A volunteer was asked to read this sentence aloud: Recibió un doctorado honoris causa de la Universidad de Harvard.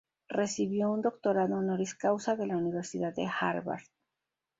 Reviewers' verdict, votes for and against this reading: accepted, 2, 0